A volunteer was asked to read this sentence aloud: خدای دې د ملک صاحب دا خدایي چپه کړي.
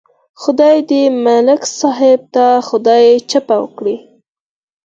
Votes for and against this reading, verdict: 2, 4, rejected